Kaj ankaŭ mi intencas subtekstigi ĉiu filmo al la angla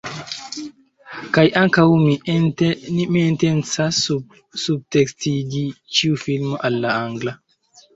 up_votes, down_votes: 1, 2